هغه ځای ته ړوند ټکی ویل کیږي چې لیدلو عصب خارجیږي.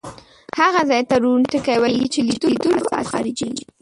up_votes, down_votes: 0, 2